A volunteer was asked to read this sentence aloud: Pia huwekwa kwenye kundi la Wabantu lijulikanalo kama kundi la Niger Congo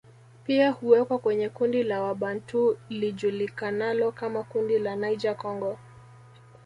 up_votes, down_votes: 2, 0